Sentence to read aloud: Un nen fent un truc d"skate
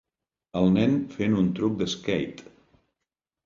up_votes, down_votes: 1, 2